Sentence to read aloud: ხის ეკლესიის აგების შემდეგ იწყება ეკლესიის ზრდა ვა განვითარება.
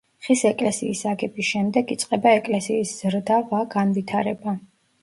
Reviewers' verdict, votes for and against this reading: accepted, 2, 0